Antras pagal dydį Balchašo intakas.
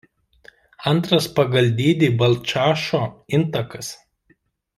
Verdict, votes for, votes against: rejected, 0, 2